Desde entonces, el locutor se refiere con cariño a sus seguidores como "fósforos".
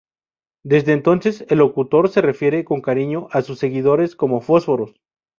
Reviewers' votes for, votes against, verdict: 2, 2, rejected